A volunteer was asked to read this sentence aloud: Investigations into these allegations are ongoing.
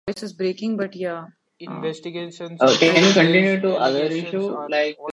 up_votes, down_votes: 0, 2